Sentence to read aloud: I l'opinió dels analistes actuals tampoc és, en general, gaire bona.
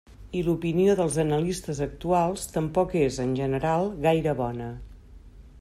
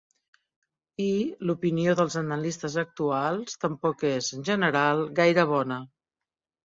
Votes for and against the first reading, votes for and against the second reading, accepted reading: 3, 0, 1, 2, first